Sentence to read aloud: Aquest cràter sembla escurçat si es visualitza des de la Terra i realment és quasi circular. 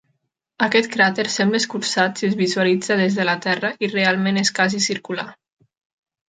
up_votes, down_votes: 1, 2